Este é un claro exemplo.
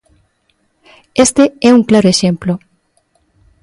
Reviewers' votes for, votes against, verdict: 2, 0, accepted